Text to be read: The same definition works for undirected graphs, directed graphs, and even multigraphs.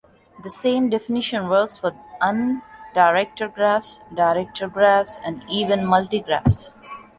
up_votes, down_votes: 2, 0